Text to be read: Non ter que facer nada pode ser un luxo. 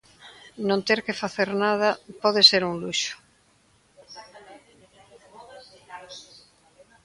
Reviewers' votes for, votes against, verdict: 1, 2, rejected